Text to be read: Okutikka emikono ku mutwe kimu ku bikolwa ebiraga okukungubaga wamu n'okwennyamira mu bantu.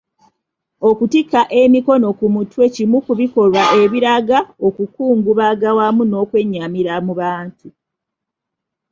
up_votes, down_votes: 2, 0